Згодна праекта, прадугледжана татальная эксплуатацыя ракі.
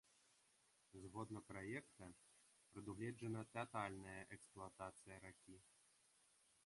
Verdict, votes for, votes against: rejected, 1, 2